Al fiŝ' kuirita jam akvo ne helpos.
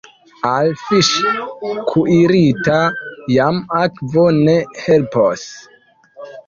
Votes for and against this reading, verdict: 2, 0, accepted